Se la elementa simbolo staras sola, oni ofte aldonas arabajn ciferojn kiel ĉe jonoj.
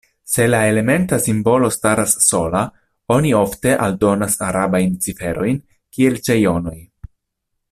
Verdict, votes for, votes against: accepted, 2, 0